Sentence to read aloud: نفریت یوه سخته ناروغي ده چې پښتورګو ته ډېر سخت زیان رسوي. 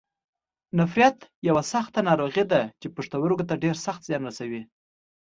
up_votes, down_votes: 2, 0